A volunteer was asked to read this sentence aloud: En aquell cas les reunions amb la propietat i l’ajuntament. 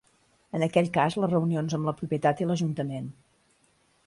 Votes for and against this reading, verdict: 3, 0, accepted